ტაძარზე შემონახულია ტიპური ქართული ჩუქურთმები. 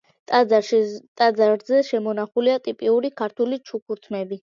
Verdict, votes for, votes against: rejected, 0, 2